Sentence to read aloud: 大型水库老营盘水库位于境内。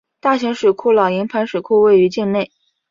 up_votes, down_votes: 2, 0